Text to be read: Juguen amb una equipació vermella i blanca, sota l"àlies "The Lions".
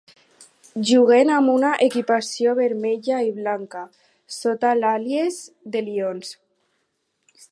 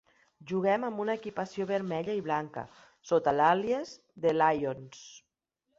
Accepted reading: first